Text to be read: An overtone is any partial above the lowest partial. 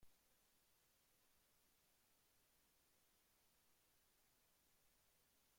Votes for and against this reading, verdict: 0, 2, rejected